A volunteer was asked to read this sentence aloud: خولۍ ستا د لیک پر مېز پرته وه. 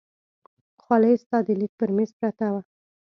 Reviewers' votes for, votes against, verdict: 2, 0, accepted